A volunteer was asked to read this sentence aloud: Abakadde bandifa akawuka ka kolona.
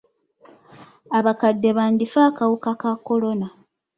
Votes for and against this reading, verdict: 2, 0, accepted